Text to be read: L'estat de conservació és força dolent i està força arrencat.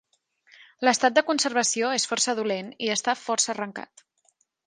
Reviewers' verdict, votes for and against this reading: accepted, 3, 0